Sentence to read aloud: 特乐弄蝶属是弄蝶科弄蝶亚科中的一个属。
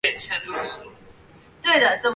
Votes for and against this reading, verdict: 0, 4, rejected